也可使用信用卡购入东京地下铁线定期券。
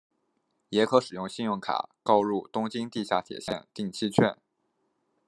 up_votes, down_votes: 2, 0